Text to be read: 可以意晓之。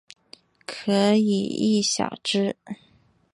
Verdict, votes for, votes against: accepted, 3, 1